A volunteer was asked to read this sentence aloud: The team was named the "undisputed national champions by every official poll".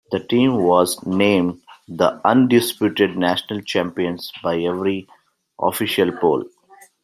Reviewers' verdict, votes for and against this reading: accepted, 2, 0